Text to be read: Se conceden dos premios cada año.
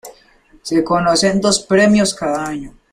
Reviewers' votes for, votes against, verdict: 2, 3, rejected